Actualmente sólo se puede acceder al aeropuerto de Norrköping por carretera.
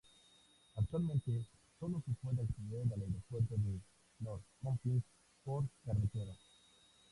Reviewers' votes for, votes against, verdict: 0, 2, rejected